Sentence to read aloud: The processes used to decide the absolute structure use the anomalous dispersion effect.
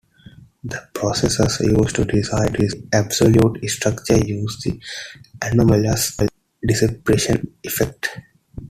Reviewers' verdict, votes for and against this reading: rejected, 0, 2